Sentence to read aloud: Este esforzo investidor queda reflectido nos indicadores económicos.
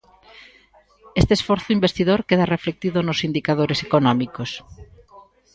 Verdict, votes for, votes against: accepted, 2, 1